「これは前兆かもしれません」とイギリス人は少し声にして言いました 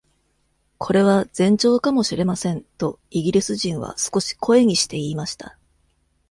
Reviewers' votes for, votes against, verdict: 2, 0, accepted